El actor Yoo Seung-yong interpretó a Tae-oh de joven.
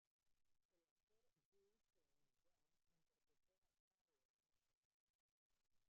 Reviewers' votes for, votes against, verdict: 0, 2, rejected